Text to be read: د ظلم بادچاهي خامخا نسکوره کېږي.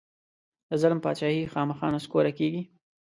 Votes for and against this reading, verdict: 3, 0, accepted